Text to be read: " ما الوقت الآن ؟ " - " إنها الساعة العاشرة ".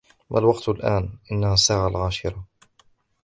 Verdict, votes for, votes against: accepted, 2, 1